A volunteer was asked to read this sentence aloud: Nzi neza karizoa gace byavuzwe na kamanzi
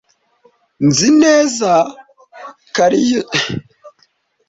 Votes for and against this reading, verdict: 0, 2, rejected